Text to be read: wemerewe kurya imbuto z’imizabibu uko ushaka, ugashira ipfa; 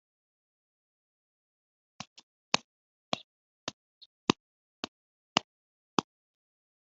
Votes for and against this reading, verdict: 0, 2, rejected